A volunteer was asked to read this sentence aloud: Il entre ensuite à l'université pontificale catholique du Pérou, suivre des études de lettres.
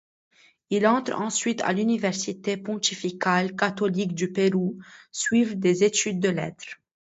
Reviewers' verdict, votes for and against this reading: accepted, 2, 1